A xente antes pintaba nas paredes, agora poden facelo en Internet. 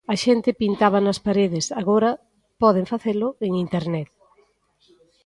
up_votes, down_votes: 0, 2